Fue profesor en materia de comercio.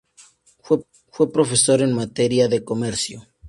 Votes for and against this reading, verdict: 2, 2, rejected